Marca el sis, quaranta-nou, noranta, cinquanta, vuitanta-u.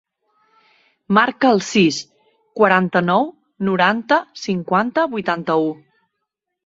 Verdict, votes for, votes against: accepted, 2, 0